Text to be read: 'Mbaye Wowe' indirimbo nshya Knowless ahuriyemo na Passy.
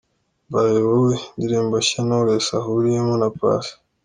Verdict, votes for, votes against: accepted, 2, 0